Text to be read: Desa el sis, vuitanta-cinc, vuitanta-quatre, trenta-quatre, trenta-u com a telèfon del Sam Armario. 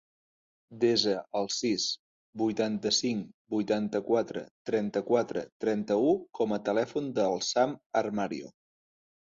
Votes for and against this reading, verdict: 3, 0, accepted